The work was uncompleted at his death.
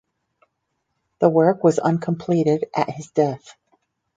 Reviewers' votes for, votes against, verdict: 4, 0, accepted